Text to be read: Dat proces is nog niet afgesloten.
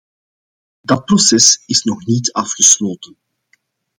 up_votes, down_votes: 2, 0